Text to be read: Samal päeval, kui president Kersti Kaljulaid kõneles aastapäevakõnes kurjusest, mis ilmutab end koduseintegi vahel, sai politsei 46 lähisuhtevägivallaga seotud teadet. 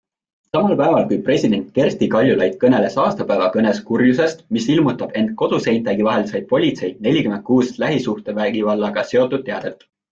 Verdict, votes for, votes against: rejected, 0, 2